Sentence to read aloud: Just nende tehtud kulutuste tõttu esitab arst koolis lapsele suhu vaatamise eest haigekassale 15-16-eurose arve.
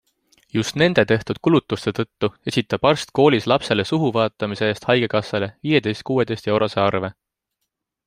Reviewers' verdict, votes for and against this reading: rejected, 0, 2